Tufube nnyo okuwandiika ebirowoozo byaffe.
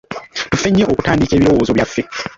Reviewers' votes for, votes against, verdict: 1, 2, rejected